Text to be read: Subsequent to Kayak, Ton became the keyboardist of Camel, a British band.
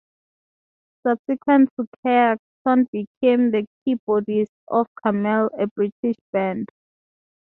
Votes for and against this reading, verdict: 2, 0, accepted